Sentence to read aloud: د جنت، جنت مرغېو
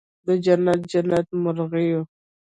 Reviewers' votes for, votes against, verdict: 1, 2, rejected